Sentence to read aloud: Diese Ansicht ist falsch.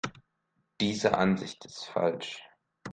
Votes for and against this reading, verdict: 2, 0, accepted